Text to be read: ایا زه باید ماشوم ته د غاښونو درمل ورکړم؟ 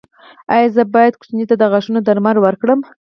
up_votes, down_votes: 4, 0